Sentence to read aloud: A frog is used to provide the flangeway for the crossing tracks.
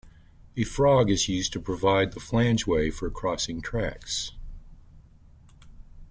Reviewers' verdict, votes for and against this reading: accepted, 2, 1